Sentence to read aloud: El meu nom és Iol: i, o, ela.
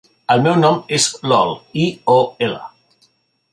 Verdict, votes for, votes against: rejected, 1, 2